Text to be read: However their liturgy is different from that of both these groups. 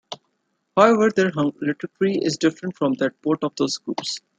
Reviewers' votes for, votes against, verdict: 1, 2, rejected